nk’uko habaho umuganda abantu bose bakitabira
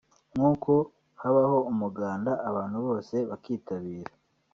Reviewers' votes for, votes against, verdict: 0, 2, rejected